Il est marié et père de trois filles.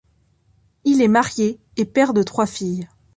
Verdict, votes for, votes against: accepted, 2, 0